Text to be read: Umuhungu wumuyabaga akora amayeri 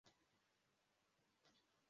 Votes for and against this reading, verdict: 0, 2, rejected